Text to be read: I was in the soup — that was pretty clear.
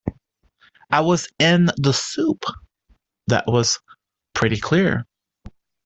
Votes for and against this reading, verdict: 2, 1, accepted